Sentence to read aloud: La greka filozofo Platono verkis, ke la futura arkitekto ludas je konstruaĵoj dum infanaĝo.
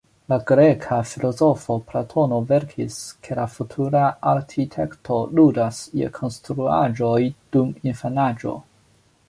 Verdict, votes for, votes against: accepted, 2, 0